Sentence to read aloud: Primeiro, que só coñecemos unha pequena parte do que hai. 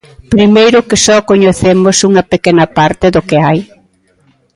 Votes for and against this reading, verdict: 2, 0, accepted